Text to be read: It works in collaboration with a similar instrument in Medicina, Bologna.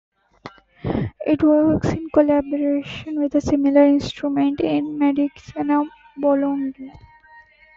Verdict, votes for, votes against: accepted, 2, 1